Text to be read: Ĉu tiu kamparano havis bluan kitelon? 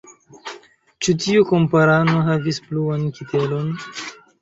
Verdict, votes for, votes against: rejected, 1, 2